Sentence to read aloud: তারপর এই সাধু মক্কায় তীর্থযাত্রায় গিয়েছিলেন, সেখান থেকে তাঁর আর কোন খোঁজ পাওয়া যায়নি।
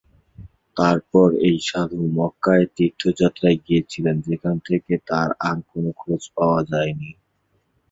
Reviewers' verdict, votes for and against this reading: rejected, 1, 2